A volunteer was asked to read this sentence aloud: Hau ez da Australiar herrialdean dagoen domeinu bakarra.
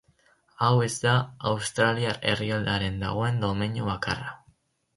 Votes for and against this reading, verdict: 0, 6, rejected